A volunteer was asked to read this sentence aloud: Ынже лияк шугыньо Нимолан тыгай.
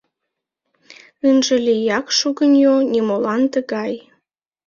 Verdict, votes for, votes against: accepted, 2, 0